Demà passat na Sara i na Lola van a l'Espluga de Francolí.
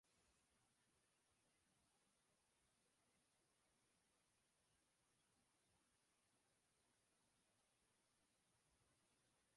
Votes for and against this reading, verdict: 1, 2, rejected